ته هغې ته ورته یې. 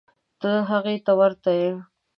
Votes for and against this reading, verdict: 2, 0, accepted